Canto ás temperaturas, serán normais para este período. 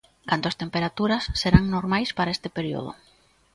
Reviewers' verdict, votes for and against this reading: rejected, 1, 2